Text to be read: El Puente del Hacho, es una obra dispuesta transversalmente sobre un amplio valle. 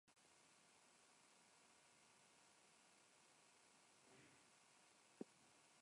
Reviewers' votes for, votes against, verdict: 0, 2, rejected